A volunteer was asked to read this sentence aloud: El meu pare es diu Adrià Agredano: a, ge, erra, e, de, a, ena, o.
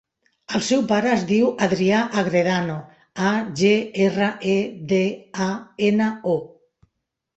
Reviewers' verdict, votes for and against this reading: rejected, 0, 2